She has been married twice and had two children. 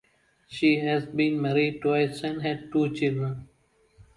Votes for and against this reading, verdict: 4, 0, accepted